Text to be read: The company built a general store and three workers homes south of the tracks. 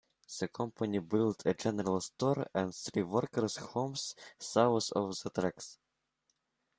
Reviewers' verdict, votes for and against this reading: rejected, 2, 3